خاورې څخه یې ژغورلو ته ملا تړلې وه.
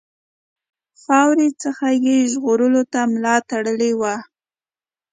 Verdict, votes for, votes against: accepted, 2, 0